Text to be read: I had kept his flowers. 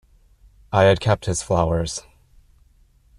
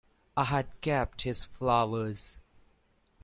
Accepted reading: second